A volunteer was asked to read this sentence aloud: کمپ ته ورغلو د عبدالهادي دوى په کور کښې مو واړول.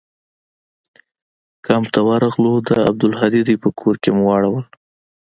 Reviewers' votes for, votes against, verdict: 2, 0, accepted